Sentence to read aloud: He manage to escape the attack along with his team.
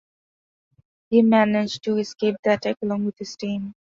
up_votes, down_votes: 2, 1